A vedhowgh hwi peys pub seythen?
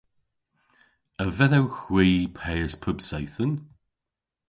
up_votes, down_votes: 2, 0